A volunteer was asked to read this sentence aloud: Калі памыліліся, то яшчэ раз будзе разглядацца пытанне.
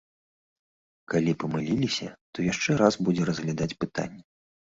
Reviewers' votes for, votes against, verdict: 0, 2, rejected